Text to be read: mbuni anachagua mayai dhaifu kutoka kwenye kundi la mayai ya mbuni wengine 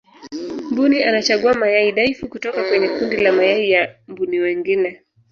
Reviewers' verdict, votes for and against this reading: rejected, 0, 2